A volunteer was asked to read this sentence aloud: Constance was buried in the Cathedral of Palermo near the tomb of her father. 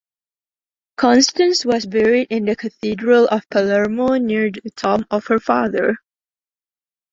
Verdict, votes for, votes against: rejected, 0, 2